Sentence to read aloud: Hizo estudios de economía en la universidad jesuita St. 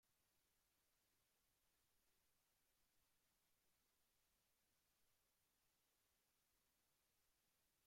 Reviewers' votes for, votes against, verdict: 0, 2, rejected